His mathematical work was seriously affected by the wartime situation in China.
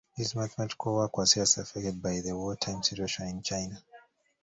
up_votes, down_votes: 2, 1